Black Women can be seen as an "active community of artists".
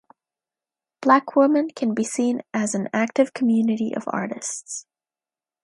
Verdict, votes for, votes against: accepted, 3, 1